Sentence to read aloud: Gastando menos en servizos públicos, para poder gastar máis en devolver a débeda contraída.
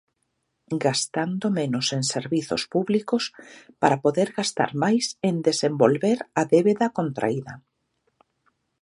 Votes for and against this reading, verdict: 0, 2, rejected